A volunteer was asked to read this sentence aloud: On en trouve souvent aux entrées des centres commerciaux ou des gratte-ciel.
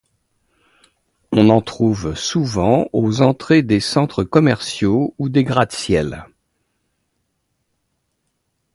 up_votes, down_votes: 2, 0